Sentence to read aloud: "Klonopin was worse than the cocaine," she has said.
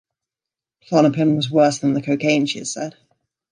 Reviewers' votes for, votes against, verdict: 2, 1, accepted